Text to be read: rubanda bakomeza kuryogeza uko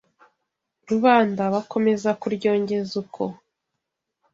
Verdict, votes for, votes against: rejected, 1, 2